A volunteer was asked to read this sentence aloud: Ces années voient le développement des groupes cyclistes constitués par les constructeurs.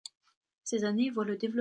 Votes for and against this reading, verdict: 0, 2, rejected